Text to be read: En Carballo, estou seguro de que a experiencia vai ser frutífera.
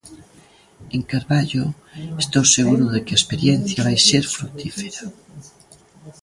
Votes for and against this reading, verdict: 0, 2, rejected